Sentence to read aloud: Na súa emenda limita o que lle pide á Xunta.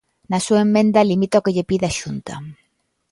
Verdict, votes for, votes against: accepted, 2, 1